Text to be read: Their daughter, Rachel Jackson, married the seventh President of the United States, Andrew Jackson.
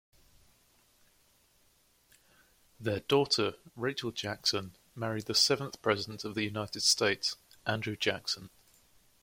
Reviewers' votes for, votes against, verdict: 2, 0, accepted